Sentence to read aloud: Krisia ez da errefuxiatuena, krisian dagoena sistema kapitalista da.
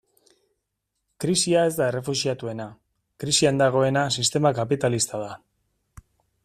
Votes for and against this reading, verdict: 2, 0, accepted